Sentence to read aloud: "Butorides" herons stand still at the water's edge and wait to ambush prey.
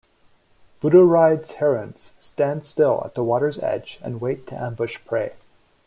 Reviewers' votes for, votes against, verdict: 2, 0, accepted